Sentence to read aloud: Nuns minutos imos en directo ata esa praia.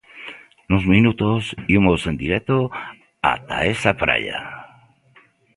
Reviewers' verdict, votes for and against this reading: accepted, 2, 0